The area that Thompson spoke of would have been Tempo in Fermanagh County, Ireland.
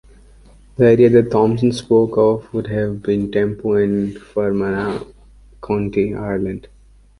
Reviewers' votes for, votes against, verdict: 2, 1, accepted